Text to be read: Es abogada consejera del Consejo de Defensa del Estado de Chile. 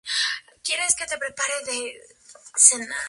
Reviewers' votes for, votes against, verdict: 0, 6, rejected